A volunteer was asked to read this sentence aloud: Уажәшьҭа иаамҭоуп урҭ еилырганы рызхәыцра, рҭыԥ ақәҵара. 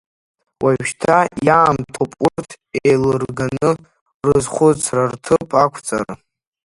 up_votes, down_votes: 0, 2